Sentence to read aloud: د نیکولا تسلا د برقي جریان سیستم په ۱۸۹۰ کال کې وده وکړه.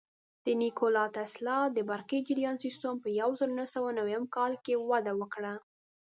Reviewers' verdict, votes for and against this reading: rejected, 0, 2